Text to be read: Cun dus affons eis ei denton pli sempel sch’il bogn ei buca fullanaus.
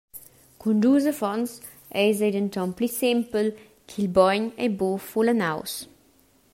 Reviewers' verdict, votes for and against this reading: rejected, 0, 2